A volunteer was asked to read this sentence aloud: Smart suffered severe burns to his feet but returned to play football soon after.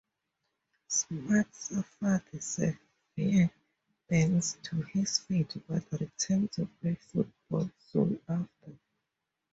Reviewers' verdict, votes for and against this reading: rejected, 2, 2